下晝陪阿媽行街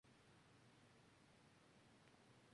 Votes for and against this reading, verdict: 0, 4, rejected